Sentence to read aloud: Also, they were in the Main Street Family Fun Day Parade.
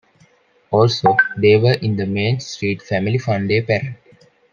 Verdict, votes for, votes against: rejected, 1, 2